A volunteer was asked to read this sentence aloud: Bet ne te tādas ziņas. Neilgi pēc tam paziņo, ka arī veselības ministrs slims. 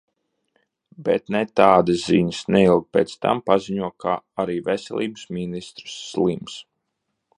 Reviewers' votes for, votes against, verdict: 1, 2, rejected